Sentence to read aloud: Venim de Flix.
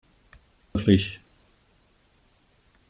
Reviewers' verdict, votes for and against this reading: rejected, 0, 2